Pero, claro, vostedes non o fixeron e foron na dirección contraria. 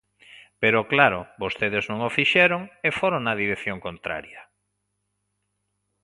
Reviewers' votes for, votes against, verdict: 2, 0, accepted